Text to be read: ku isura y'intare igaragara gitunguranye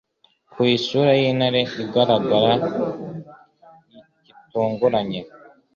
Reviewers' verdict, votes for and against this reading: accepted, 2, 0